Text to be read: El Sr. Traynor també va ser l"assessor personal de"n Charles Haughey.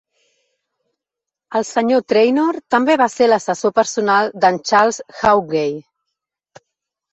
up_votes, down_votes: 2, 0